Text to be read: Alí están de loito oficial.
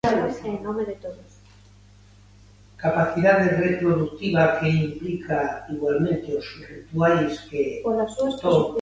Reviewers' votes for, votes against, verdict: 0, 2, rejected